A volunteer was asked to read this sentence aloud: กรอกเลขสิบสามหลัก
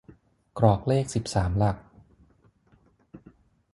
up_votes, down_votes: 6, 0